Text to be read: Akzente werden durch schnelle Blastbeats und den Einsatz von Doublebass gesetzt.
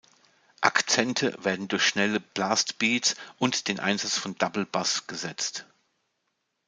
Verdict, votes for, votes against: rejected, 0, 2